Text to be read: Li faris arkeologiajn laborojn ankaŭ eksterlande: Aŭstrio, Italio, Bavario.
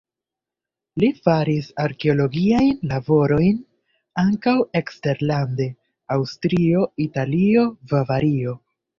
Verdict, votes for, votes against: accepted, 3, 1